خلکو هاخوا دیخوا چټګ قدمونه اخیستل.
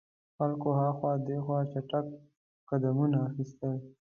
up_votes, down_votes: 1, 2